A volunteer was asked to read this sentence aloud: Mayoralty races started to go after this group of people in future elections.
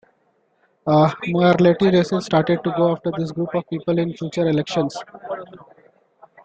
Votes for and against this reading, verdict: 2, 1, accepted